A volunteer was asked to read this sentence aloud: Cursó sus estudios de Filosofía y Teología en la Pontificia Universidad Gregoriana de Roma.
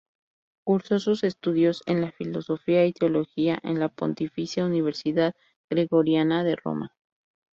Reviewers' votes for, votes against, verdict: 0, 2, rejected